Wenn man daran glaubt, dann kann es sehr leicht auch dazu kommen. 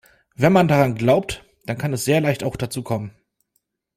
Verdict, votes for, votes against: accepted, 2, 0